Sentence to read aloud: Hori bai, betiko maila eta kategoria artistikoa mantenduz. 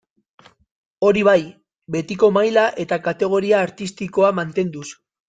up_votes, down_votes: 2, 0